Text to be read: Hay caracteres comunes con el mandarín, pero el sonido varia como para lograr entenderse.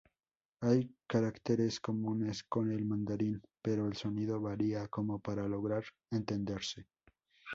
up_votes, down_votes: 2, 0